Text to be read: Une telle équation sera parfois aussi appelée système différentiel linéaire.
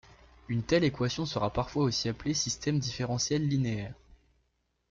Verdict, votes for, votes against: accepted, 2, 1